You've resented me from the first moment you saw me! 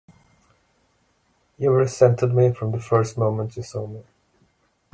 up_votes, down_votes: 2, 1